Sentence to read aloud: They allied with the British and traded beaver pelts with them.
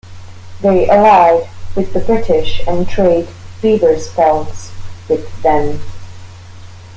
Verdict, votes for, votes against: rejected, 0, 2